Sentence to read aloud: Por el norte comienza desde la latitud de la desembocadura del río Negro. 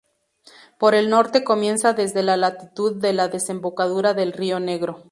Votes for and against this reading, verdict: 2, 0, accepted